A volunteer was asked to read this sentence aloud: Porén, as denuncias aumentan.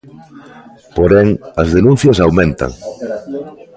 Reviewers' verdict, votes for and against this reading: rejected, 1, 2